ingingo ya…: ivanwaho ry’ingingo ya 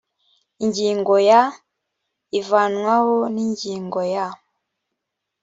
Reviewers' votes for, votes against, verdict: 1, 2, rejected